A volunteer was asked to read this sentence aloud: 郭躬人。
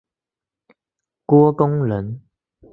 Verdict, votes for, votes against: accepted, 2, 0